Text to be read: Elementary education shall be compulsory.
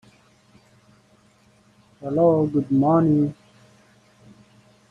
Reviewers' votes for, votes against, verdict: 0, 2, rejected